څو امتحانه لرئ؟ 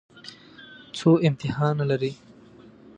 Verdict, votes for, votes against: accepted, 2, 0